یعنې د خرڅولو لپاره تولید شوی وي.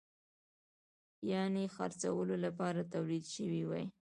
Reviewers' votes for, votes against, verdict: 2, 0, accepted